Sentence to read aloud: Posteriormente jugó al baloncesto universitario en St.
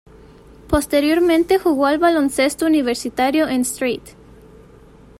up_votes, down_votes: 2, 1